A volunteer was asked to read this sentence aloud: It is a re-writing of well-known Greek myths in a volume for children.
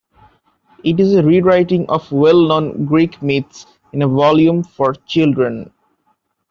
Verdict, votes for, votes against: accepted, 2, 0